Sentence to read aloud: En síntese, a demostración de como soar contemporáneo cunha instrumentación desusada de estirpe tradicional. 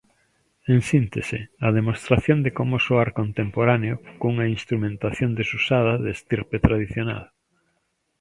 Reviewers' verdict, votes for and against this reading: accepted, 2, 0